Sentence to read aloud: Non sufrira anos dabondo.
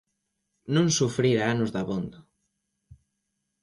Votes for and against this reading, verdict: 2, 0, accepted